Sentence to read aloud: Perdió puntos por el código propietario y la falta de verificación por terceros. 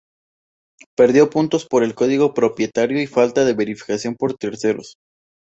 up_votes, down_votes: 0, 2